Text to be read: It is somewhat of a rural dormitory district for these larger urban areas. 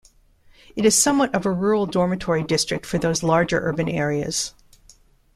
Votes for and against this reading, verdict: 3, 2, accepted